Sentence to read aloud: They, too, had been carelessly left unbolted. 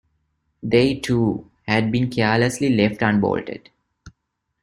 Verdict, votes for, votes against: accepted, 2, 1